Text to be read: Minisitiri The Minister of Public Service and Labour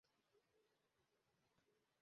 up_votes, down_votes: 0, 2